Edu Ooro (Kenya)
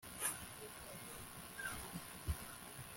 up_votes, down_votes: 0, 2